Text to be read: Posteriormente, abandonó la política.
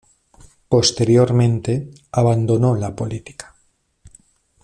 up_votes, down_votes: 2, 0